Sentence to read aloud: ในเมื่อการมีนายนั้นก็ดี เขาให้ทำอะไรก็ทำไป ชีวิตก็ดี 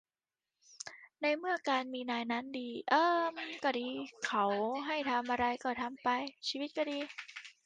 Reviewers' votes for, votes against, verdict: 0, 2, rejected